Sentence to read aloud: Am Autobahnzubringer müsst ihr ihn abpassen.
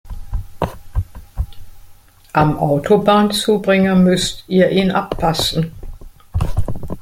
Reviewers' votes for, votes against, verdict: 0, 2, rejected